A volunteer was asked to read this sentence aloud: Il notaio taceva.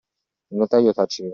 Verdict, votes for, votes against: accepted, 2, 1